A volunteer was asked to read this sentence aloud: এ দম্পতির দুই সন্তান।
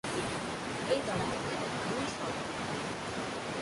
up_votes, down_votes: 1, 4